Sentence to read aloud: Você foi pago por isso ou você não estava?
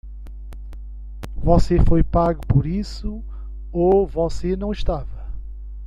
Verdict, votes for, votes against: rejected, 1, 2